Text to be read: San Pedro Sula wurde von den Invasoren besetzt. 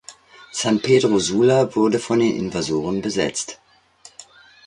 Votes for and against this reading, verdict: 2, 0, accepted